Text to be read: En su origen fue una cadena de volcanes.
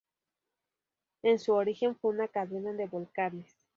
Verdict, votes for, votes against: accepted, 4, 0